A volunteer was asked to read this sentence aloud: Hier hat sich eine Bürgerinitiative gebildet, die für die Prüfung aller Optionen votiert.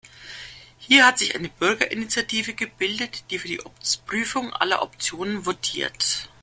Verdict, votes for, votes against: accepted, 2, 1